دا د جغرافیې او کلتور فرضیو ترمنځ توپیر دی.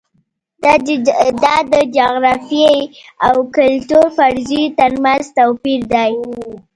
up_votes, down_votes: 2, 1